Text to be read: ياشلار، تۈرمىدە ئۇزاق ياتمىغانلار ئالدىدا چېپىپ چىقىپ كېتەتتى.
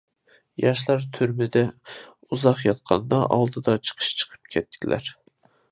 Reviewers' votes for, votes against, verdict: 0, 2, rejected